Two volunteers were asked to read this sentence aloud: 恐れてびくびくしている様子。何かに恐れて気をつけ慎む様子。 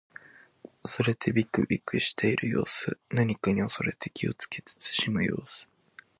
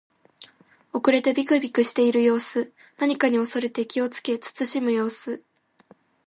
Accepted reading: first